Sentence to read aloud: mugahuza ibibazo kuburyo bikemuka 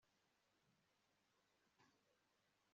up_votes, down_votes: 1, 2